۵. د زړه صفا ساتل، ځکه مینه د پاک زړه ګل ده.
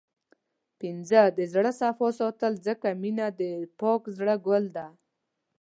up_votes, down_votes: 0, 2